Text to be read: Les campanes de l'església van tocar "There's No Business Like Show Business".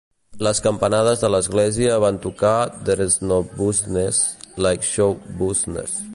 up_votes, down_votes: 0, 2